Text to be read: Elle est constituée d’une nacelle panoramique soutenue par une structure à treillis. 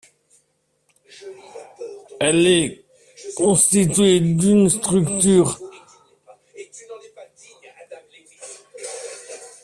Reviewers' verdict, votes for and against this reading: rejected, 0, 2